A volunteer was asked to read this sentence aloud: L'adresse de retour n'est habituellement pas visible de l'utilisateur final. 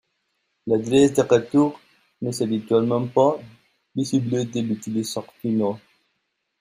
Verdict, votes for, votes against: rejected, 0, 2